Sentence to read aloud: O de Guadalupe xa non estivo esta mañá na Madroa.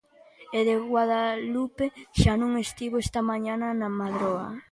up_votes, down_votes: 0, 2